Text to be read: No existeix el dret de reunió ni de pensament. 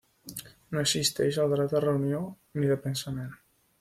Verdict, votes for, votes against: accepted, 3, 1